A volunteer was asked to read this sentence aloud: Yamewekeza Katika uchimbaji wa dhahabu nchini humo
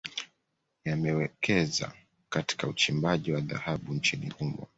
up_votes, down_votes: 2, 0